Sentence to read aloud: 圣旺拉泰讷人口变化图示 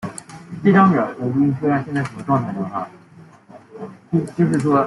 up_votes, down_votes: 0, 2